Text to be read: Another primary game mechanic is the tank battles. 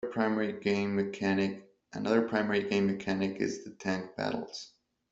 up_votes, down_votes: 0, 2